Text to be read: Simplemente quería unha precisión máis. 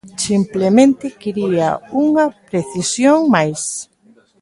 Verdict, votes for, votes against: accepted, 2, 1